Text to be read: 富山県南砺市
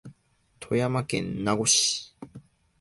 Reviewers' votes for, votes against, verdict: 2, 1, accepted